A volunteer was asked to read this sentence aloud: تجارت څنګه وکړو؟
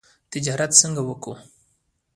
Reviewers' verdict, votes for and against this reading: rejected, 1, 2